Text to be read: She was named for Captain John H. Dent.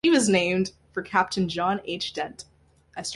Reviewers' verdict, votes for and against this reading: accepted, 2, 0